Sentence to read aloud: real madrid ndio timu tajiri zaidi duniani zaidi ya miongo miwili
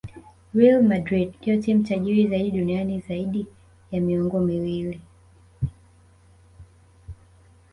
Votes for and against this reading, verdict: 1, 2, rejected